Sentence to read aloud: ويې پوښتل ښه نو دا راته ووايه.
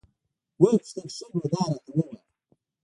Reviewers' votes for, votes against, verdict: 1, 2, rejected